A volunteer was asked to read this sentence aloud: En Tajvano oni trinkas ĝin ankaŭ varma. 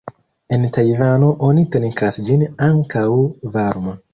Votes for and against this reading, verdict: 1, 2, rejected